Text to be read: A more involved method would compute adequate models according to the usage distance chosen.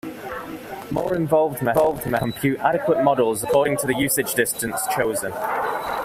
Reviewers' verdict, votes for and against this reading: rejected, 0, 2